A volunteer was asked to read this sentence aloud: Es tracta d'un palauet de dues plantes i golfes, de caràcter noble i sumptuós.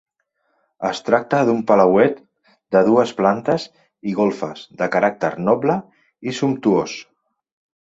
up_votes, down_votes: 4, 0